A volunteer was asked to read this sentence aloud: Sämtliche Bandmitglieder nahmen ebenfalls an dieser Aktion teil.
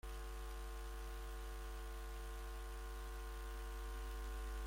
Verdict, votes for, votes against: rejected, 0, 2